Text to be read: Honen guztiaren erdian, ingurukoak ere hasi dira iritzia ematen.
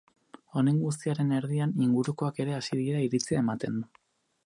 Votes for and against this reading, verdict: 4, 2, accepted